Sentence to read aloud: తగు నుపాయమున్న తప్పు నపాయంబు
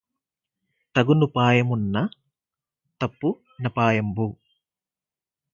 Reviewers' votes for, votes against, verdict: 8, 0, accepted